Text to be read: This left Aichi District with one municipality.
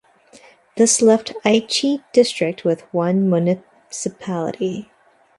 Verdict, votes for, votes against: rejected, 1, 2